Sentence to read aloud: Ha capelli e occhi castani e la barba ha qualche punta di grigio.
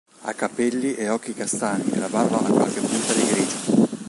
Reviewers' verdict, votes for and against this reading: rejected, 1, 2